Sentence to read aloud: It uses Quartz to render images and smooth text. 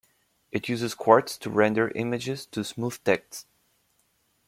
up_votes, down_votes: 0, 2